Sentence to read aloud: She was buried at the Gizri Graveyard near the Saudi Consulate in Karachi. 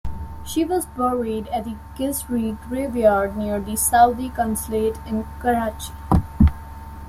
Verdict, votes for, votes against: accepted, 2, 0